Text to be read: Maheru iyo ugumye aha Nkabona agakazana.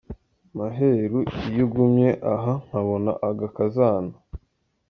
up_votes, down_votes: 2, 0